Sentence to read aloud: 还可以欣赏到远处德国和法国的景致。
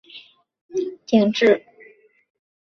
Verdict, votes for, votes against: rejected, 1, 2